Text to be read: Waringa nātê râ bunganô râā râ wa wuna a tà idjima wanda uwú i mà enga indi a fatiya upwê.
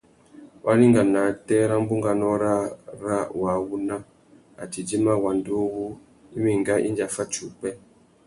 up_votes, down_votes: 2, 0